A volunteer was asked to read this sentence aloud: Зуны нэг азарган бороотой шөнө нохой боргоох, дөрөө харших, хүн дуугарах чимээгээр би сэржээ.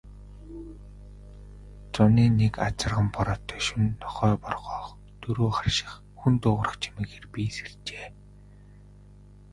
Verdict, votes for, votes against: rejected, 0, 2